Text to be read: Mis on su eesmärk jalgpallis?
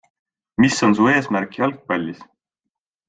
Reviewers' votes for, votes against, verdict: 5, 0, accepted